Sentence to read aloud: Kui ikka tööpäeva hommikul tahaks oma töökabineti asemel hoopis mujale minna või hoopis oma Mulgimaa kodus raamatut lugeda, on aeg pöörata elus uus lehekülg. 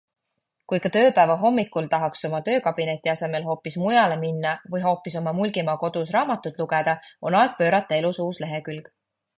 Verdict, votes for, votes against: accepted, 2, 0